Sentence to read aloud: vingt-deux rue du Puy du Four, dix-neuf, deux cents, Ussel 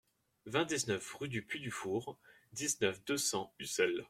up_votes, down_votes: 0, 2